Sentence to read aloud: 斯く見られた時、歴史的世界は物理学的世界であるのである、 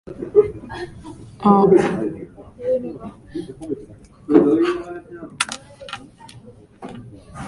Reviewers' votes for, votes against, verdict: 0, 2, rejected